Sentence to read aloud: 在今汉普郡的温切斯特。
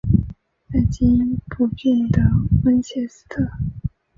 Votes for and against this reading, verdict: 0, 2, rejected